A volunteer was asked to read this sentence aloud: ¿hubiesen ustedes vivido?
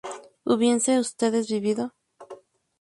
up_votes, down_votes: 0, 2